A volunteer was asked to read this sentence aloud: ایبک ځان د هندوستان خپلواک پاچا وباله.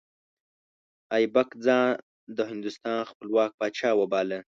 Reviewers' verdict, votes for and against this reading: accepted, 2, 1